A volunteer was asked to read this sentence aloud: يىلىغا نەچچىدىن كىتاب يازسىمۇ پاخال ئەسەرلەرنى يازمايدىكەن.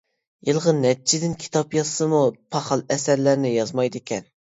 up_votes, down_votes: 1, 2